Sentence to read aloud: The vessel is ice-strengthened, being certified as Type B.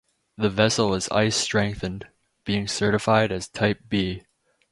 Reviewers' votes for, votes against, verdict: 2, 2, rejected